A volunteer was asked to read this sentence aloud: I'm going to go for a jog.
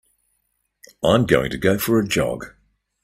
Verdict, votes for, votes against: accepted, 2, 0